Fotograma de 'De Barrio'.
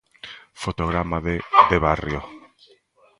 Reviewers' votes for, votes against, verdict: 1, 2, rejected